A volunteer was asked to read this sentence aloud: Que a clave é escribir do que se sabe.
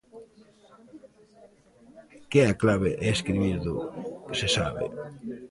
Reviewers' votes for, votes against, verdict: 1, 2, rejected